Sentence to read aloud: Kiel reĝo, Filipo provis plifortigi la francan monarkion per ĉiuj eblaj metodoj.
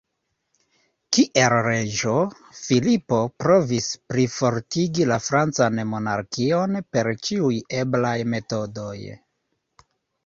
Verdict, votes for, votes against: accepted, 2, 1